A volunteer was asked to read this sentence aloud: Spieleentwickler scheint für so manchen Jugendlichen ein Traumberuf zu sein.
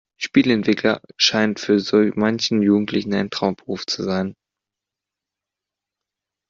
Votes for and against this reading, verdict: 2, 0, accepted